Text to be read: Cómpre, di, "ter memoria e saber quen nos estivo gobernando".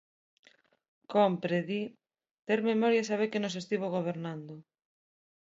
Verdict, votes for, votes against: accepted, 2, 0